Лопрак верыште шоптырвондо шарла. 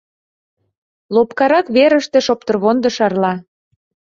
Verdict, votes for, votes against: rejected, 1, 2